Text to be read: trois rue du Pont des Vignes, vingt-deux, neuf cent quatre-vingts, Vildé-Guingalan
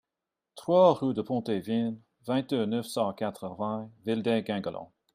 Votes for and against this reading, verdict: 0, 2, rejected